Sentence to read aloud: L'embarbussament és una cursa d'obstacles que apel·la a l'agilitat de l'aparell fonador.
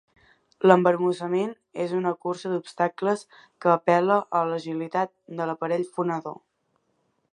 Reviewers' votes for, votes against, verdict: 2, 0, accepted